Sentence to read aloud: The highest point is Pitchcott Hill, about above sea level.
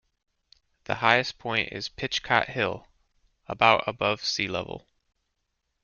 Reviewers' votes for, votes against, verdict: 2, 0, accepted